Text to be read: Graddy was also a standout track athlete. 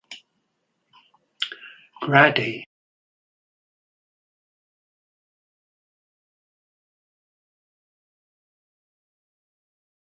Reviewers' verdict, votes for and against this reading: rejected, 0, 2